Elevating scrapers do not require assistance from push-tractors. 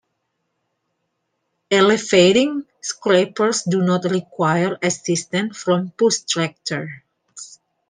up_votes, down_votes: 2, 0